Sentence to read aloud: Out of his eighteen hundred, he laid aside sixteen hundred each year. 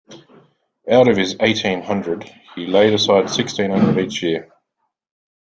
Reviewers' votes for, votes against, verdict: 2, 0, accepted